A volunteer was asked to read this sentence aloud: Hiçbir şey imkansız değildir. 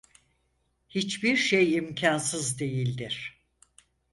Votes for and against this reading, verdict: 4, 0, accepted